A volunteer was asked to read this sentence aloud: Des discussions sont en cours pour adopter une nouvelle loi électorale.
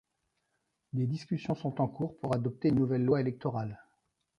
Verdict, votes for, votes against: rejected, 0, 2